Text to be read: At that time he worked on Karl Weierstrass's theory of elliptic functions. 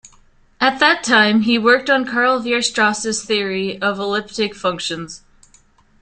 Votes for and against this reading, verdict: 2, 0, accepted